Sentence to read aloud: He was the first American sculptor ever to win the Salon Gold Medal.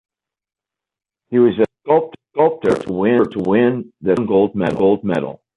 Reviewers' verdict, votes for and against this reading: rejected, 0, 2